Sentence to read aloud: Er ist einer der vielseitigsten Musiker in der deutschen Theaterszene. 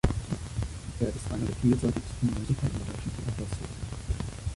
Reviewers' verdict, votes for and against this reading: rejected, 0, 2